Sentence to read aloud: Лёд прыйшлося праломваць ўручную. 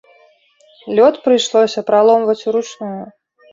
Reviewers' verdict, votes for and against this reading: accepted, 2, 0